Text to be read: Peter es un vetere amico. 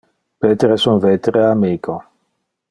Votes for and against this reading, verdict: 2, 0, accepted